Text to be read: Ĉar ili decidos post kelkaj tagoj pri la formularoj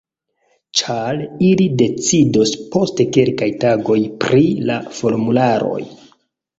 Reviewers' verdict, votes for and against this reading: rejected, 0, 2